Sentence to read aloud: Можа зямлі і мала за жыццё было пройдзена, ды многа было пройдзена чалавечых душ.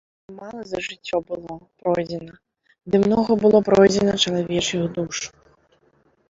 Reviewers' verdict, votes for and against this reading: rejected, 0, 2